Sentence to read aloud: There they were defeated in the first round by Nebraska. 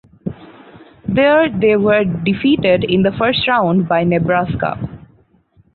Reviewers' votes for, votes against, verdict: 4, 2, accepted